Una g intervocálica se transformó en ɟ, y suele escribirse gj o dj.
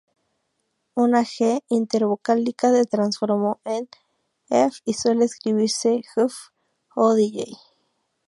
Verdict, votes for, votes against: rejected, 0, 2